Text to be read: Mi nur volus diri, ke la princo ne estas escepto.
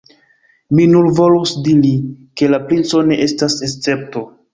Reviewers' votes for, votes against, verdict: 2, 0, accepted